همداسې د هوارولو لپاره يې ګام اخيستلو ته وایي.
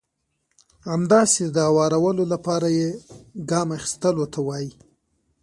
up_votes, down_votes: 3, 0